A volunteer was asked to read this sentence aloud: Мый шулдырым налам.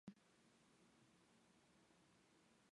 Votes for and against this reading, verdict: 1, 2, rejected